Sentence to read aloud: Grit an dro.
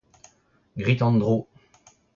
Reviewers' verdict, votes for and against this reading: rejected, 0, 2